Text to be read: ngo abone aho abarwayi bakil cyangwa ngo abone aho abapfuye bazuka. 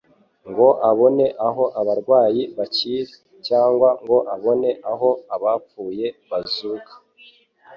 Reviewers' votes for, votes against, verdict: 2, 0, accepted